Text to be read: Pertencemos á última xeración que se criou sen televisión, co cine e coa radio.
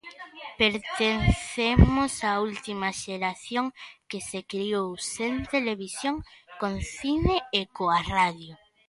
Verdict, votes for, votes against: rejected, 0, 2